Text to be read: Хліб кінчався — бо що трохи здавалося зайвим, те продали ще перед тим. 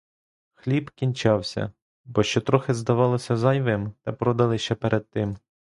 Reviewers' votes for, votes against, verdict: 3, 0, accepted